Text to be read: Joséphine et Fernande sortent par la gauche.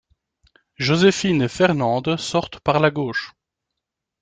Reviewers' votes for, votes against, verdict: 2, 0, accepted